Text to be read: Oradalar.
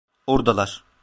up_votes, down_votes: 0, 2